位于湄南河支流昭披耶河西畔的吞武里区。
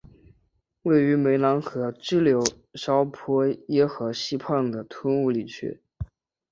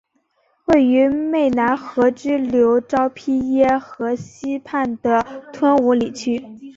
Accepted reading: second